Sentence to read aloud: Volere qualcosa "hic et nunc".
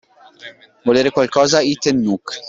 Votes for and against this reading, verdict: 1, 2, rejected